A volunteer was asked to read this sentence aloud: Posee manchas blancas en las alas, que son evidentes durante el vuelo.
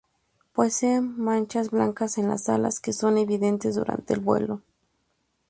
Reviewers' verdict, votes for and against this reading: accepted, 2, 0